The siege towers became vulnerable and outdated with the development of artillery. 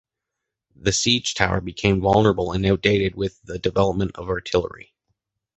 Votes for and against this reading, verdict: 1, 2, rejected